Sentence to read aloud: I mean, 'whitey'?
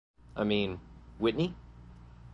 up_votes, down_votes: 0, 2